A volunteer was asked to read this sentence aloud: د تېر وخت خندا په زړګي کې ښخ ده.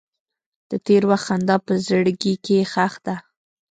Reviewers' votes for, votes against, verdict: 1, 2, rejected